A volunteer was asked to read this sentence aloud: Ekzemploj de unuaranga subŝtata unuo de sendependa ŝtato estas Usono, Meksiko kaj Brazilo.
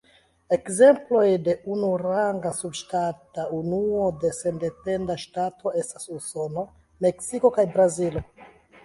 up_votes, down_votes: 2, 1